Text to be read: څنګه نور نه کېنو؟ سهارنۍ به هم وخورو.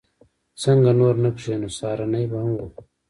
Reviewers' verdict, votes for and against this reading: rejected, 1, 2